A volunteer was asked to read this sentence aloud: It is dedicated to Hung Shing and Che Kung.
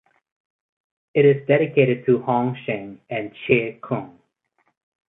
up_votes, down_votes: 4, 0